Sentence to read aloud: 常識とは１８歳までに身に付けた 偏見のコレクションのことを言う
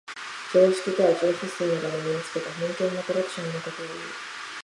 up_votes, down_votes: 0, 2